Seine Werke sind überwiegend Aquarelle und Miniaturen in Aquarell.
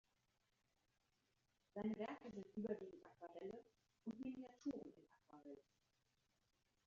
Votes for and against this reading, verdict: 0, 2, rejected